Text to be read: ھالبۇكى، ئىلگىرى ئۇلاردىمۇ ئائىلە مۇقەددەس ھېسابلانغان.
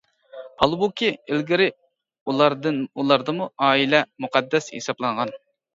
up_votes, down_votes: 0, 2